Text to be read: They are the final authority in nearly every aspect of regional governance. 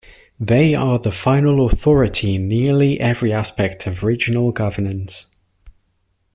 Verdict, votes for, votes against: accepted, 2, 1